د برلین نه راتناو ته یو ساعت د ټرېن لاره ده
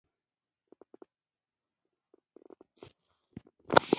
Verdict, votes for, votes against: rejected, 1, 2